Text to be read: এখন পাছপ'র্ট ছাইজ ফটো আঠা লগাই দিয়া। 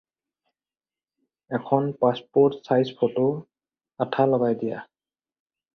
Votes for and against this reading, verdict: 4, 0, accepted